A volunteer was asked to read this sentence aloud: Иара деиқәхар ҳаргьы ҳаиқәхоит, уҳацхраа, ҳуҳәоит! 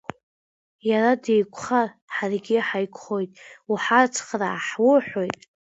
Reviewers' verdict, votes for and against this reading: accepted, 2, 1